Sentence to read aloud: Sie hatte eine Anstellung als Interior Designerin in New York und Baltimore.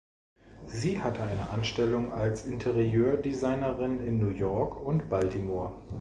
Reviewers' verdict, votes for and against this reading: rejected, 0, 2